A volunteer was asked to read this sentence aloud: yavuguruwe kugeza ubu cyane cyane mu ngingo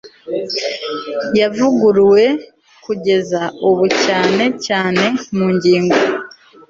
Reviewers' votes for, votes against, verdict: 2, 0, accepted